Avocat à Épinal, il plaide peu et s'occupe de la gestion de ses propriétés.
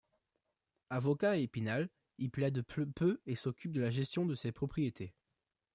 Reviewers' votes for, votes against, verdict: 1, 2, rejected